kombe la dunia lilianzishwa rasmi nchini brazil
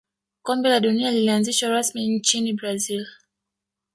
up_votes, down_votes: 1, 2